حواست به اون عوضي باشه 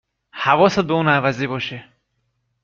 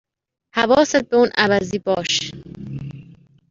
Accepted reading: first